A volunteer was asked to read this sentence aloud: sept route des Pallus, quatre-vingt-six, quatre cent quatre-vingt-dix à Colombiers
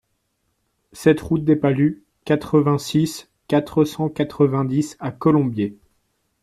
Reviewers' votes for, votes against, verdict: 2, 0, accepted